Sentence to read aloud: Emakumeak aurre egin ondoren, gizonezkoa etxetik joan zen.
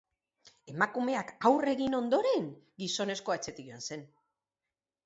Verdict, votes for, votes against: accepted, 4, 0